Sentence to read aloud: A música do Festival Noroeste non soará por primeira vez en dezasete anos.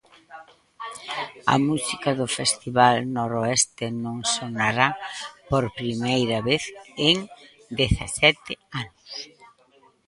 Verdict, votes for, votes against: rejected, 0, 2